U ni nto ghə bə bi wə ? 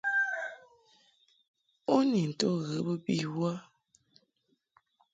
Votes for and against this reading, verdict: 1, 2, rejected